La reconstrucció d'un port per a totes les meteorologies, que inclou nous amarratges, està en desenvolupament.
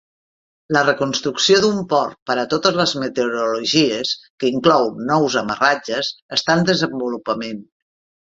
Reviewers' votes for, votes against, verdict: 3, 0, accepted